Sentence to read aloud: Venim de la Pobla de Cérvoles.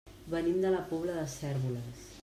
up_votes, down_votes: 2, 0